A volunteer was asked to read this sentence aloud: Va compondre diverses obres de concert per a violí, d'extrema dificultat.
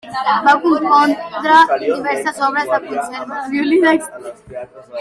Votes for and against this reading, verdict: 0, 2, rejected